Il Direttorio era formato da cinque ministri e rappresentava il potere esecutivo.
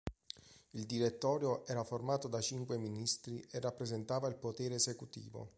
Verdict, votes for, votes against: accepted, 3, 1